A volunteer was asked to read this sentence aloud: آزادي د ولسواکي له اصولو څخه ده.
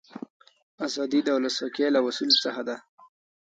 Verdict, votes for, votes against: accepted, 2, 1